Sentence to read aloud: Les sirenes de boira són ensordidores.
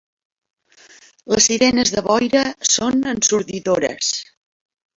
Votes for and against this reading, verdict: 0, 2, rejected